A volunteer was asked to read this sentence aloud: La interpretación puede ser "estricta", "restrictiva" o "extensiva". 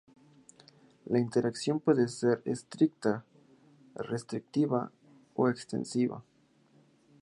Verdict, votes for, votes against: rejected, 0, 2